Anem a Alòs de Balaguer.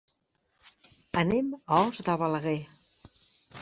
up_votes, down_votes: 1, 2